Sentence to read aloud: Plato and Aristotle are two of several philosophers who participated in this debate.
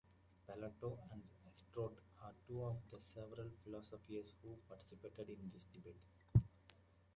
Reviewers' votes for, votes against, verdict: 0, 2, rejected